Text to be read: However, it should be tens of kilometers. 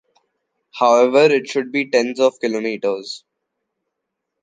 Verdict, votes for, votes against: accepted, 2, 1